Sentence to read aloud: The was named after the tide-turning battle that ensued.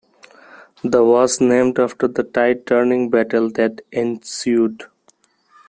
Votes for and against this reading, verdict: 1, 2, rejected